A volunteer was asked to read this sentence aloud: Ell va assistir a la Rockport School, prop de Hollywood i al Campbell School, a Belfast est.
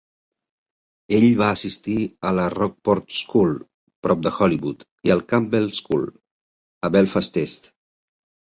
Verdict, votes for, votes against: accepted, 3, 0